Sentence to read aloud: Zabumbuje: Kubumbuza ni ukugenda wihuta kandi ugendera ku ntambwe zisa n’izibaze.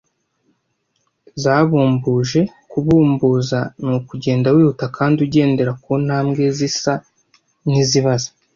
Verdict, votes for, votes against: accepted, 2, 0